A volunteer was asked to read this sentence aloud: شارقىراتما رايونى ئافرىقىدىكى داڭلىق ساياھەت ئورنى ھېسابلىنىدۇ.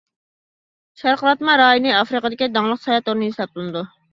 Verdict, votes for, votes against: accepted, 2, 1